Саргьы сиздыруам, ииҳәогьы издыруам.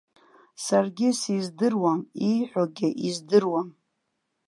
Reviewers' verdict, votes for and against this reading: accepted, 2, 0